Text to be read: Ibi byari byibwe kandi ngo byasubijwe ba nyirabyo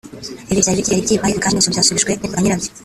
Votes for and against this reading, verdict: 0, 3, rejected